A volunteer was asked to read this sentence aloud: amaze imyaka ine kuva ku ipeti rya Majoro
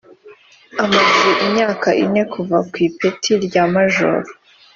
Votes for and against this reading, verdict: 2, 0, accepted